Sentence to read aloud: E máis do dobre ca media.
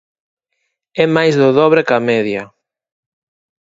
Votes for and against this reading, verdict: 4, 0, accepted